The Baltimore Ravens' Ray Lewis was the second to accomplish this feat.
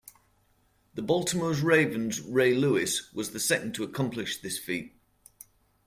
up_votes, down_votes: 2, 1